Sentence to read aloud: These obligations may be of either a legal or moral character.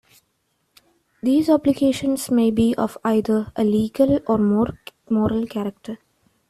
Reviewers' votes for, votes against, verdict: 1, 2, rejected